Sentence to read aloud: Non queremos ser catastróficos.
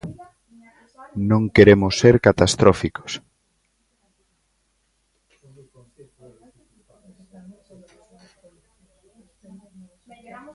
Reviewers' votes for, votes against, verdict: 1, 2, rejected